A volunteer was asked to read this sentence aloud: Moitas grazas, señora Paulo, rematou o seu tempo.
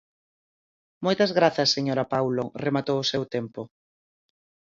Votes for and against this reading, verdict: 4, 0, accepted